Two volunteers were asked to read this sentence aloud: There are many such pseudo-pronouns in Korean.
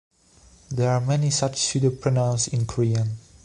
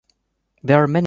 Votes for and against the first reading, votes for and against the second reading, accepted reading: 2, 0, 0, 2, first